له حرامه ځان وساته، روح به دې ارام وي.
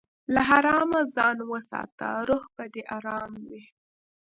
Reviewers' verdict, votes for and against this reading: accepted, 2, 0